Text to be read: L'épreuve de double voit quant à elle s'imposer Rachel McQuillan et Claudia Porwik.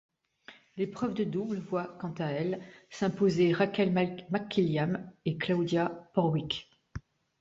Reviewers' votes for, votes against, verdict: 2, 1, accepted